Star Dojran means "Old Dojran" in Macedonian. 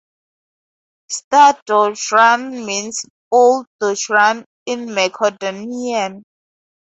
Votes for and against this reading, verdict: 0, 2, rejected